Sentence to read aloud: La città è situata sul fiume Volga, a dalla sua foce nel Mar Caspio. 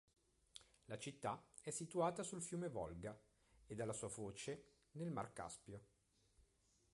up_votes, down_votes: 1, 2